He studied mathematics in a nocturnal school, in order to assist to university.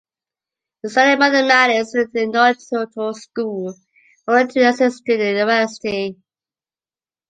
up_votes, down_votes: 1, 2